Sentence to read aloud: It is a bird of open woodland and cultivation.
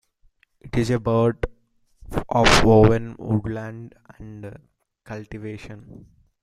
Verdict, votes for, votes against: rejected, 0, 2